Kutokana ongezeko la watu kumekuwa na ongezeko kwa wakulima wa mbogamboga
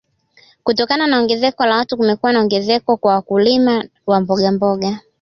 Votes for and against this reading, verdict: 0, 2, rejected